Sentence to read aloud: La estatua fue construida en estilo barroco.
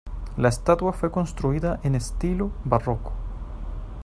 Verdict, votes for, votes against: accepted, 2, 0